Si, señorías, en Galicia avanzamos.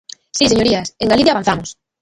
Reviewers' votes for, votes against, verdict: 0, 2, rejected